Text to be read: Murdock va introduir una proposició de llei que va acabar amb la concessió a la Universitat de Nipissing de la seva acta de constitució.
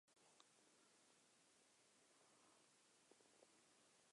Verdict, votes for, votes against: rejected, 1, 3